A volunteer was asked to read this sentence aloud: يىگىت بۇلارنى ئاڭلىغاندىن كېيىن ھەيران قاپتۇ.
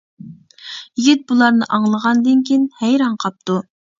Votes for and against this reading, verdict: 1, 2, rejected